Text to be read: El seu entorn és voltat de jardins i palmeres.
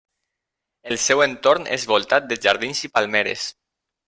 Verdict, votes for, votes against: accepted, 3, 0